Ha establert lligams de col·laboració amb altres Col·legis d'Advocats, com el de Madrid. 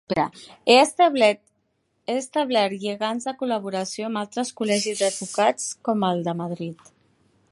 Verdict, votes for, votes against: rejected, 0, 2